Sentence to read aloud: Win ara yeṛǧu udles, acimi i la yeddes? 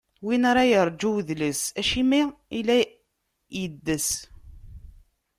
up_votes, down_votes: 1, 2